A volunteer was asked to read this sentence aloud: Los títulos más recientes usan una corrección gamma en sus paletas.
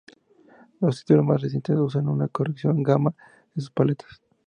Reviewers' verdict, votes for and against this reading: accepted, 2, 0